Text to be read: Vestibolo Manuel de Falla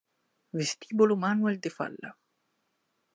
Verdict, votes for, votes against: accepted, 2, 0